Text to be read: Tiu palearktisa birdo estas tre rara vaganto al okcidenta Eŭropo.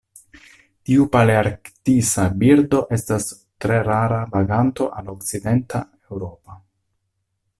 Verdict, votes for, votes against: rejected, 0, 2